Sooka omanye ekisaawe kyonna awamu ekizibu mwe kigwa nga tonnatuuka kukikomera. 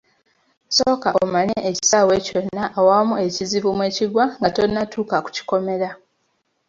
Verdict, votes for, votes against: rejected, 1, 2